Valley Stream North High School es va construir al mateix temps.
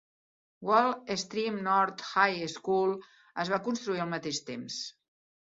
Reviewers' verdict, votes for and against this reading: rejected, 0, 2